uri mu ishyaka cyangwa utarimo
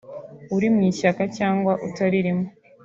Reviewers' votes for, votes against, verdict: 3, 1, accepted